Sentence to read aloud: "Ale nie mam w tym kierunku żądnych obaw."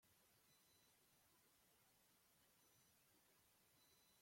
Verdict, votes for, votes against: rejected, 0, 2